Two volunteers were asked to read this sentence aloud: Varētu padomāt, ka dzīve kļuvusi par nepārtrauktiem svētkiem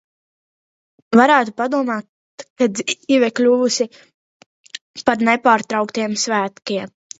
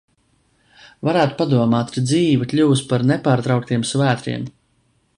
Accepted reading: second